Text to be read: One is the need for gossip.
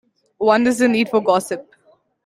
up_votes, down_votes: 2, 1